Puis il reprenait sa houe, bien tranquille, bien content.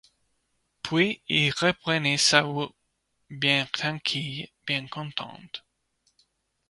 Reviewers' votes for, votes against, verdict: 1, 2, rejected